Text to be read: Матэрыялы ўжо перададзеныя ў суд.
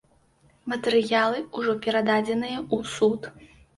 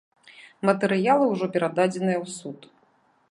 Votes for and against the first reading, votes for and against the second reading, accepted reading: 1, 2, 2, 0, second